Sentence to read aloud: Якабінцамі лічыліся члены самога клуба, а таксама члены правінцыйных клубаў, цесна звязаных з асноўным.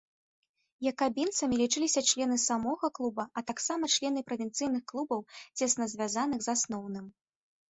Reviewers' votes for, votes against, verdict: 2, 0, accepted